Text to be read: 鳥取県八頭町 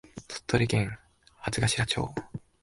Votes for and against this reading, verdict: 2, 0, accepted